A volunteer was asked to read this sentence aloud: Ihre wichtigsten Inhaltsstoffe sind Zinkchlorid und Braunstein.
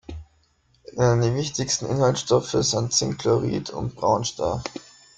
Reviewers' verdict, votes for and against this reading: rejected, 0, 2